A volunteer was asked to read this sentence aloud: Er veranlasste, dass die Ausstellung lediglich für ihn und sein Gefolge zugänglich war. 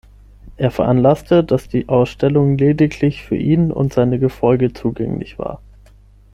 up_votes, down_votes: 3, 6